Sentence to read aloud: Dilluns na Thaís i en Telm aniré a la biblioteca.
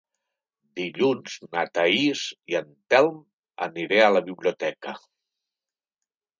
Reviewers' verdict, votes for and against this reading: accepted, 3, 0